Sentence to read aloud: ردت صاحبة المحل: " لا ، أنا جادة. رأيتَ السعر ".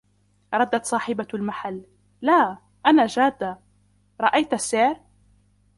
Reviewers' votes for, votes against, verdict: 0, 2, rejected